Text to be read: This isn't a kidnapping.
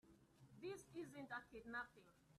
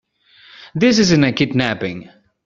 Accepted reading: second